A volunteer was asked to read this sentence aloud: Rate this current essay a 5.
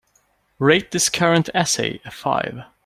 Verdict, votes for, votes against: rejected, 0, 2